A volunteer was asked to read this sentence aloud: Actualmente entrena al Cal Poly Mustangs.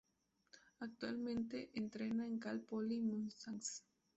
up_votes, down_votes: 0, 2